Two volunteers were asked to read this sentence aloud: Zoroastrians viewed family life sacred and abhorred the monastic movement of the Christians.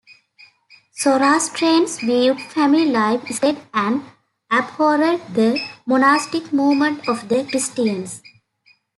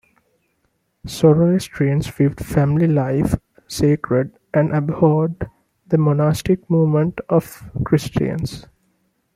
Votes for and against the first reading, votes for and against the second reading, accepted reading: 0, 2, 2, 1, second